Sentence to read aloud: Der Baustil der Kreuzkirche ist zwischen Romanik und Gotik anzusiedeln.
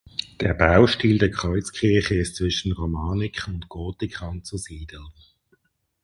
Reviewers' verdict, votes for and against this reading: rejected, 2, 2